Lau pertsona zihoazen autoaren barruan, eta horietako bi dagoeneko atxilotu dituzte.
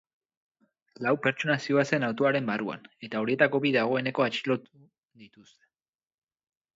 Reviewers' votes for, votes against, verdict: 2, 6, rejected